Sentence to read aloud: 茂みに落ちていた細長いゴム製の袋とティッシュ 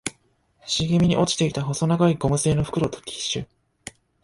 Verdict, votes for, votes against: accepted, 2, 0